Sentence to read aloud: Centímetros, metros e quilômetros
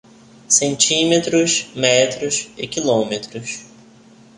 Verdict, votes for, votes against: accepted, 2, 0